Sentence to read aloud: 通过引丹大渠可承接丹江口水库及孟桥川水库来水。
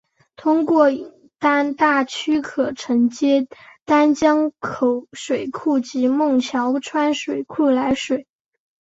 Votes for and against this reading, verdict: 2, 0, accepted